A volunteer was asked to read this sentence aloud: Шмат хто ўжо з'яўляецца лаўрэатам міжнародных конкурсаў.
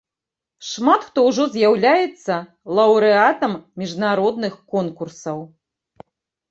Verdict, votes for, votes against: accepted, 2, 0